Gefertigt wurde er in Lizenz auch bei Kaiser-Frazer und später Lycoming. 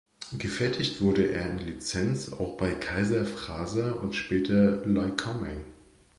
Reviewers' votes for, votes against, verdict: 2, 0, accepted